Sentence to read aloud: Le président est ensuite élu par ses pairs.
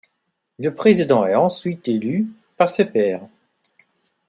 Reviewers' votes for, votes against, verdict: 0, 2, rejected